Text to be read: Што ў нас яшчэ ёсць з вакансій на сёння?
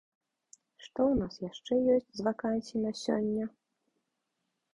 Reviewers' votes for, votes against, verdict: 2, 0, accepted